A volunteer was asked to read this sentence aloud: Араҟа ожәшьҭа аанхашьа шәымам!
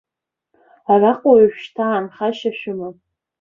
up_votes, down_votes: 2, 1